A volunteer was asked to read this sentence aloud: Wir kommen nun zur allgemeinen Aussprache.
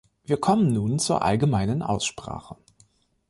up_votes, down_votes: 2, 1